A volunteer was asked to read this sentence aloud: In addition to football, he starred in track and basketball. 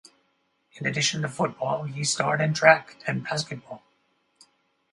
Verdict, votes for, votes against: accepted, 4, 0